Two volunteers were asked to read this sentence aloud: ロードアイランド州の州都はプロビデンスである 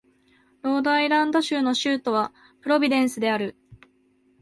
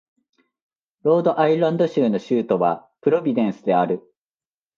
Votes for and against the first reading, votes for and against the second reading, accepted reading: 1, 2, 2, 0, second